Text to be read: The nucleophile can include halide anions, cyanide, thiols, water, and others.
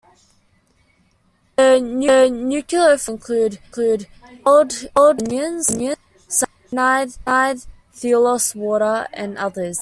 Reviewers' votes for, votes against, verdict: 0, 2, rejected